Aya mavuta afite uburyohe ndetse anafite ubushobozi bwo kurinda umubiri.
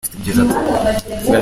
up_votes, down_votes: 0, 2